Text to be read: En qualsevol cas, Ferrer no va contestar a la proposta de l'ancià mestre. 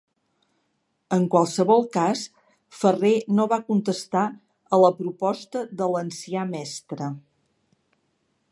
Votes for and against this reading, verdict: 3, 0, accepted